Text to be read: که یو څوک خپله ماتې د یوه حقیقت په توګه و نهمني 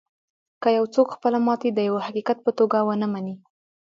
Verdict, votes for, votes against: rejected, 1, 2